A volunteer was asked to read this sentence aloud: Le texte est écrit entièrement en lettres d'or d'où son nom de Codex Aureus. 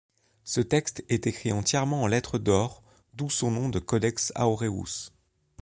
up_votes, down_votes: 1, 2